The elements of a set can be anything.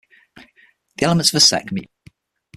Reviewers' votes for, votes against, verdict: 0, 9, rejected